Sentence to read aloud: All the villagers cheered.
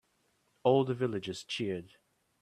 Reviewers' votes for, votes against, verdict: 2, 0, accepted